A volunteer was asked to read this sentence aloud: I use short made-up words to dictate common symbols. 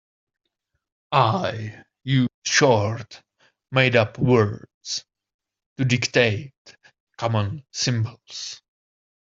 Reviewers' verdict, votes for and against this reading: accepted, 2, 1